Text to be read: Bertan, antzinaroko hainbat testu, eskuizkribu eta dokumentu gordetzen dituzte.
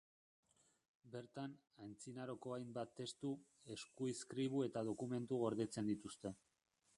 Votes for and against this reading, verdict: 0, 2, rejected